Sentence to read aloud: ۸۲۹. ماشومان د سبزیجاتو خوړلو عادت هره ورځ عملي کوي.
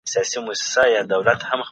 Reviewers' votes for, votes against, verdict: 0, 2, rejected